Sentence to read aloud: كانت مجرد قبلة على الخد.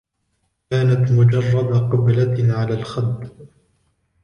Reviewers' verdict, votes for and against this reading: rejected, 1, 2